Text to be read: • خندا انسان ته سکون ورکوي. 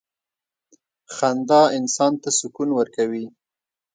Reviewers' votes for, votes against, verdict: 2, 0, accepted